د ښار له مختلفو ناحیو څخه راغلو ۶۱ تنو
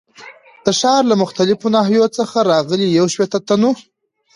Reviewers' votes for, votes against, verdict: 0, 2, rejected